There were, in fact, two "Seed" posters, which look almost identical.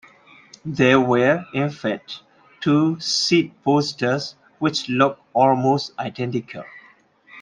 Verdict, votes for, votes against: accepted, 2, 0